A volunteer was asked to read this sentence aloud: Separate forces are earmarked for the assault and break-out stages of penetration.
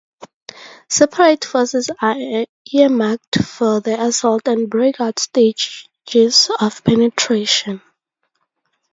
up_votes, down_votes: 0, 2